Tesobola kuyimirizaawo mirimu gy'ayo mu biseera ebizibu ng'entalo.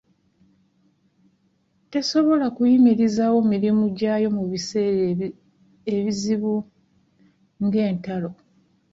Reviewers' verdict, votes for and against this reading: rejected, 0, 2